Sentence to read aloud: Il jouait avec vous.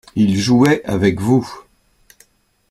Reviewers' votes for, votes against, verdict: 2, 0, accepted